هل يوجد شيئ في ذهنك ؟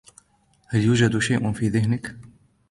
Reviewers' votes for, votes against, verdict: 1, 2, rejected